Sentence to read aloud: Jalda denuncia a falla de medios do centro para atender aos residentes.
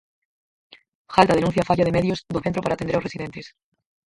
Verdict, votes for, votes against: rejected, 0, 4